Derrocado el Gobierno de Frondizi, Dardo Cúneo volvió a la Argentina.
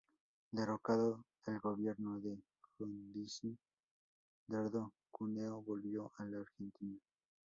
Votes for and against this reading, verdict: 0, 2, rejected